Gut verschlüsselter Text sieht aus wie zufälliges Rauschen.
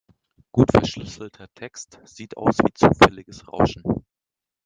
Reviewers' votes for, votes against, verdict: 0, 2, rejected